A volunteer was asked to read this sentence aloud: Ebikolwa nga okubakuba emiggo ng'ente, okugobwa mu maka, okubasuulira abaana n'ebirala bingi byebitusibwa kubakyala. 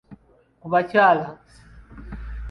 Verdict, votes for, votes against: rejected, 0, 2